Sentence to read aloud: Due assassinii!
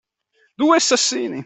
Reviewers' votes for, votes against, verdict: 1, 2, rejected